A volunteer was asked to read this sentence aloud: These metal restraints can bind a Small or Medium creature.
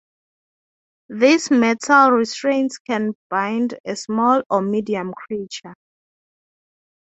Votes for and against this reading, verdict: 3, 0, accepted